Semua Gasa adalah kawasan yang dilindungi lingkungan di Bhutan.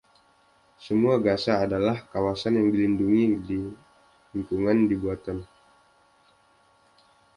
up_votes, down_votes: 1, 2